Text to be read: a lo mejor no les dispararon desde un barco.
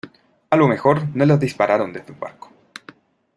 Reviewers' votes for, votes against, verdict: 2, 0, accepted